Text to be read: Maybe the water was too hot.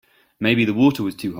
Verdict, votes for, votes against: rejected, 1, 2